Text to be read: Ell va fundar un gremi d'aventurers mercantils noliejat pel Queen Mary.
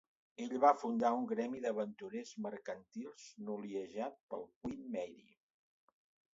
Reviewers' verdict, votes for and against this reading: rejected, 1, 2